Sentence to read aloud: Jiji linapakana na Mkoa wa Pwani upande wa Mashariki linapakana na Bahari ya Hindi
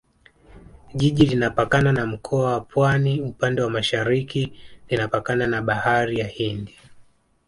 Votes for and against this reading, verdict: 2, 0, accepted